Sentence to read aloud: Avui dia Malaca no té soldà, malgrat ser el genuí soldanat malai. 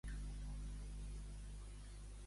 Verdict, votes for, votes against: rejected, 0, 2